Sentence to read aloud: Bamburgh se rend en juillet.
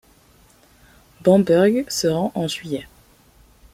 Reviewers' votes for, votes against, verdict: 2, 0, accepted